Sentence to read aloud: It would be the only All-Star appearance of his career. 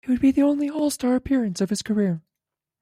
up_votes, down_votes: 1, 2